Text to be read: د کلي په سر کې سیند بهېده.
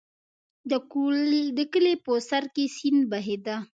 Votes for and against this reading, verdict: 0, 2, rejected